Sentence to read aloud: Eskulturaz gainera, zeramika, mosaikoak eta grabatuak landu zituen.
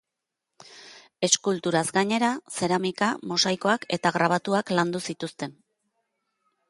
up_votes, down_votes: 0, 2